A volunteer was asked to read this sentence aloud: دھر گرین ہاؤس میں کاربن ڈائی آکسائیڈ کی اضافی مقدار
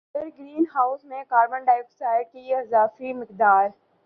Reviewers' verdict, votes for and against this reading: accepted, 2, 1